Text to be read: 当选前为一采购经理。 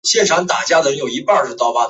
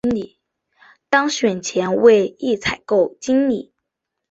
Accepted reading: second